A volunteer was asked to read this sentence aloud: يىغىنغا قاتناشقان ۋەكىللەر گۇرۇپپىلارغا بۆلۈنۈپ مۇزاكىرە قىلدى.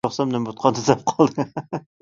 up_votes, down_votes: 0, 2